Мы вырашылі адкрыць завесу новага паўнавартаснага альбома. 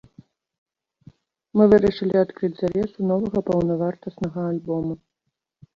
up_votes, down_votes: 2, 0